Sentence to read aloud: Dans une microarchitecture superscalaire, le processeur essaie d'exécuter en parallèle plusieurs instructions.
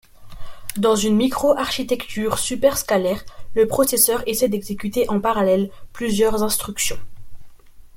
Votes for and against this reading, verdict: 1, 2, rejected